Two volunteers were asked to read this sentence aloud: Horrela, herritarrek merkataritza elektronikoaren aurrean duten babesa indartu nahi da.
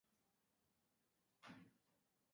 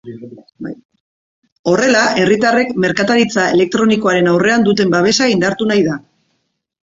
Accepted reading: second